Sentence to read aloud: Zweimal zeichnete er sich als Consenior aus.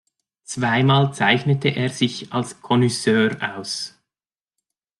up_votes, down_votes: 2, 3